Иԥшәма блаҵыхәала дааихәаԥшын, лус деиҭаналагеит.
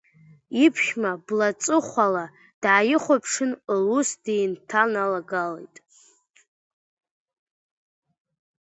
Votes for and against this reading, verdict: 0, 2, rejected